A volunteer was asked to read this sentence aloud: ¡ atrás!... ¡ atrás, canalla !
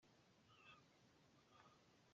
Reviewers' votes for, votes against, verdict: 0, 2, rejected